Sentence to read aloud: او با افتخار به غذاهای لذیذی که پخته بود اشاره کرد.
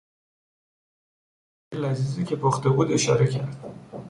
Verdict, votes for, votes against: rejected, 0, 2